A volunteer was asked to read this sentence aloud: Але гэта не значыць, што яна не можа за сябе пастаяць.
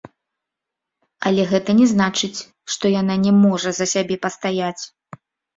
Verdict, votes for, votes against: rejected, 1, 3